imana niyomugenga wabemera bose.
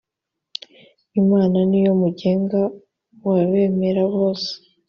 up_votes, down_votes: 2, 0